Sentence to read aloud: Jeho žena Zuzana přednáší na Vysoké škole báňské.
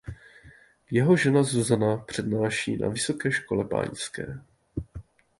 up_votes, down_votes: 2, 0